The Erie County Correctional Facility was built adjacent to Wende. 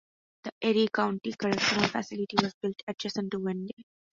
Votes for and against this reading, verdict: 2, 0, accepted